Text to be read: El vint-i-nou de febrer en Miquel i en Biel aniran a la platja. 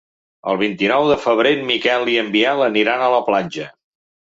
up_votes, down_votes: 2, 0